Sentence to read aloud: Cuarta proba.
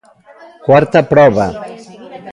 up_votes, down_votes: 0, 2